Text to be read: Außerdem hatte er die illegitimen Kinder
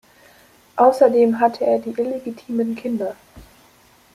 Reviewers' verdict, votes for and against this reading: accepted, 2, 0